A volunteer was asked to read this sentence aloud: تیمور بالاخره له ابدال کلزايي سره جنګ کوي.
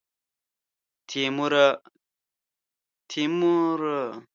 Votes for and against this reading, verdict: 0, 2, rejected